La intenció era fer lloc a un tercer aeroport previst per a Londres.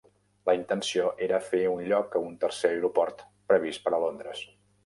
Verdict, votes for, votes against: rejected, 0, 2